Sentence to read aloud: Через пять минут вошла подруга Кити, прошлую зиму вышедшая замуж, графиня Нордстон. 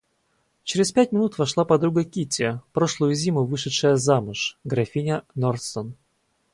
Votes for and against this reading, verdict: 4, 0, accepted